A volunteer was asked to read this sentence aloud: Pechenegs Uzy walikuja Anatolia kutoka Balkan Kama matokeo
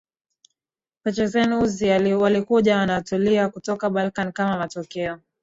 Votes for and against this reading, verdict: 4, 4, rejected